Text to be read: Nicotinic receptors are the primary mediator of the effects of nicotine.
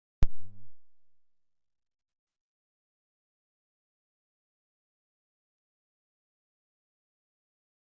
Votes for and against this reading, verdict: 0, 2, rejected